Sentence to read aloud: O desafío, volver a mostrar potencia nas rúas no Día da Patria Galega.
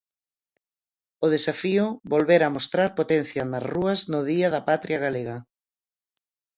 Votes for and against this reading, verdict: 4, 2, accepted